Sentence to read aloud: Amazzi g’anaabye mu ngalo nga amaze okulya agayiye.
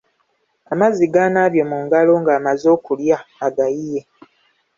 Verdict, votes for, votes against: accepted, 2, 1